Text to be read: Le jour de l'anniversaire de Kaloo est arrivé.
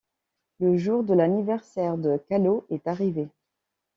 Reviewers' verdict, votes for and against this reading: rejected, 1, 2